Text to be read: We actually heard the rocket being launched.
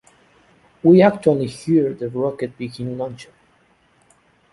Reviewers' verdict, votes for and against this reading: rejected, 1, 2